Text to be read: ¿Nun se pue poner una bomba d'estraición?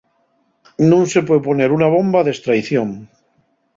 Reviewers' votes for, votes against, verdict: 0, 2, rejected